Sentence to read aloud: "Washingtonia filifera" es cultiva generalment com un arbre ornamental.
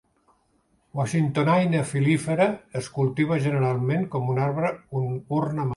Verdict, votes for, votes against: rejected, 0, 4